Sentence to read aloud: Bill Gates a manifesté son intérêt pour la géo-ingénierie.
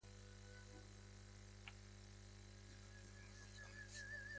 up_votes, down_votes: 0, 2